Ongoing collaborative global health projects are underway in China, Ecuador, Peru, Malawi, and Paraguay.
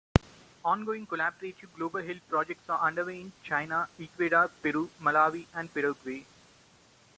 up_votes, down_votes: 1, 2